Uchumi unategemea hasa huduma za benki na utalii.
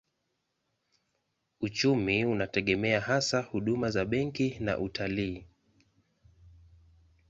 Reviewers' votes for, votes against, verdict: 2, 0, accepted